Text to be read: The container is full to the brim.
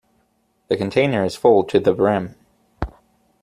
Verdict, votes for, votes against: accepted, 2, 0